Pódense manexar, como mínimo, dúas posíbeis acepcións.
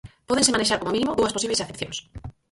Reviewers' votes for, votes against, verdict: 0, 4, rejected